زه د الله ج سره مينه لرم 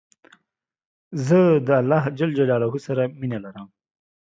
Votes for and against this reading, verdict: 2, 0, accepted